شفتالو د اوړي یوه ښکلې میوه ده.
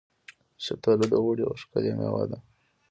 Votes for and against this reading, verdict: 2, 0, accepted